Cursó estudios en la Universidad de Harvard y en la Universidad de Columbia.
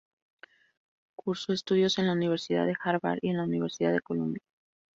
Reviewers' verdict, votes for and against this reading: accepted, 4, 0